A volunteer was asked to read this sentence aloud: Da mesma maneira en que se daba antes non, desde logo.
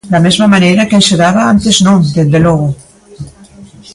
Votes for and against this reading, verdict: 0, 2, rejected